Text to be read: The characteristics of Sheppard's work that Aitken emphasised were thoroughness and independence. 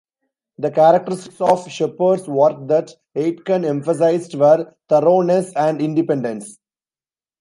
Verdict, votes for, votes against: rejected, 1, 2